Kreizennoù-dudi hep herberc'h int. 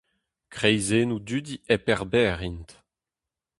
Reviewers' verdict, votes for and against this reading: accepted, 2, 0